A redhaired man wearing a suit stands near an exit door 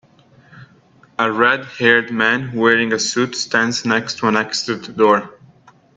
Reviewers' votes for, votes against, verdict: 0, 3, rejected